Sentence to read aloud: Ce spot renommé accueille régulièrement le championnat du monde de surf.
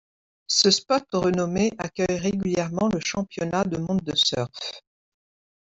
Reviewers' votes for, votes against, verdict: 0, 2, rejected